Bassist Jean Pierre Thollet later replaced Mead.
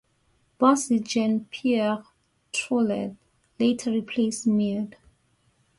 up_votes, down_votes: 2, 1